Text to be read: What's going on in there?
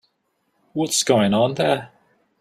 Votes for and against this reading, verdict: 1, 2, rejected